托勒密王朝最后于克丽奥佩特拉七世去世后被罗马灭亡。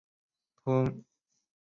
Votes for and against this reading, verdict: 1, 3, rejected